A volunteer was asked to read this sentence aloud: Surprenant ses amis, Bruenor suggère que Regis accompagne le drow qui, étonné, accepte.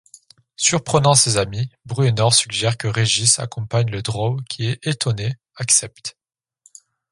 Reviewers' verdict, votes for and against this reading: rejected, 0, 2